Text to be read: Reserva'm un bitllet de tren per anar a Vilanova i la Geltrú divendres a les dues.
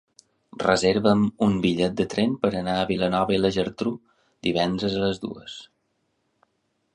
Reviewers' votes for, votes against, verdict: 1, 2, rejected